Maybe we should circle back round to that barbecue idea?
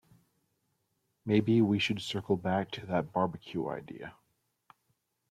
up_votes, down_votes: 3, 1